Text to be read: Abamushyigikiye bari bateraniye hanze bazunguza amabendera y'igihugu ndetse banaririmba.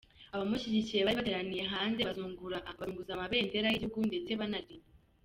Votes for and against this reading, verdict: 0, 3, rejected